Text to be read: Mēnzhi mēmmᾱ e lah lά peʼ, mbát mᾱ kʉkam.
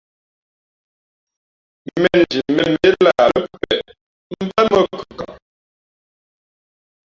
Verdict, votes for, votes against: rejected, 0, 2